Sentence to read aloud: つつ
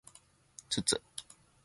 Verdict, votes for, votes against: accepted, 2, 0